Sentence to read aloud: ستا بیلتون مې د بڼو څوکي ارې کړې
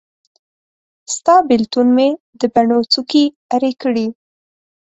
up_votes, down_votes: 4, 0